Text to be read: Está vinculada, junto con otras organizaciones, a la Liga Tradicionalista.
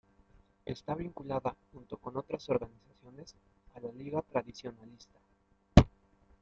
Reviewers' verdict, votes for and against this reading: rejected, 0, 2